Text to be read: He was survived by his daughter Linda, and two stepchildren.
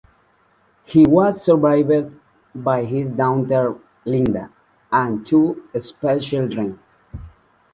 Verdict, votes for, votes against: rejected, 0, 2